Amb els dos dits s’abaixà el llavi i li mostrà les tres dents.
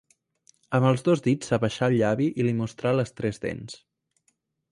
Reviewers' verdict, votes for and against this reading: accepted, 2, 0